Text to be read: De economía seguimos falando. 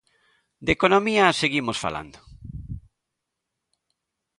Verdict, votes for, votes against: accepted, 2, 0